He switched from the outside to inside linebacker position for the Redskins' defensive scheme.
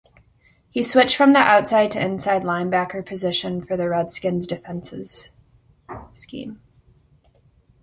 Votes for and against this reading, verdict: 0, 2, rejected